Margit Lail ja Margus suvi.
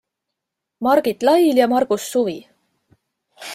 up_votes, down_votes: 2, 0